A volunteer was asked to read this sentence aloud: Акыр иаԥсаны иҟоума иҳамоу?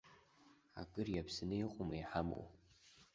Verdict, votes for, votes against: accepted, 2, 0